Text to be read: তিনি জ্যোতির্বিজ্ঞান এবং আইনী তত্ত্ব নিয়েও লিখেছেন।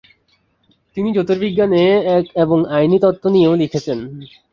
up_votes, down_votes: 4, 6